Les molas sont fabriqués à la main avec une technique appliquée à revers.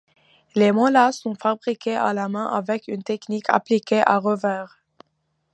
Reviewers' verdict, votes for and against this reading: accepted, 2, 0